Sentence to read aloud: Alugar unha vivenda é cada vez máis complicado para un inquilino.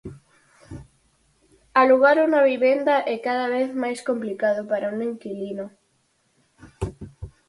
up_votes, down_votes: 0, 4